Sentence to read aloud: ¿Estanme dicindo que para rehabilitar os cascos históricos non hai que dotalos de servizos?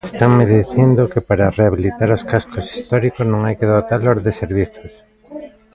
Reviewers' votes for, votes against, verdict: 0, 2, rejected